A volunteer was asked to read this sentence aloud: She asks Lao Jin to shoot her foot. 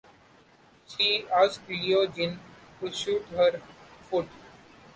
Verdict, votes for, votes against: rejected, 0, 2